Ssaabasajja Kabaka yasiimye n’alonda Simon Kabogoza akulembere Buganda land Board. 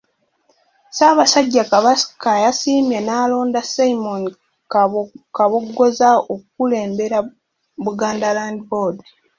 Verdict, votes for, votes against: rejected, 1, 2